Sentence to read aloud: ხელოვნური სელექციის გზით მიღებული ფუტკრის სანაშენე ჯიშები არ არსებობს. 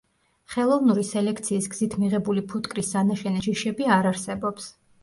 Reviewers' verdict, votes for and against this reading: accepted, 2, 0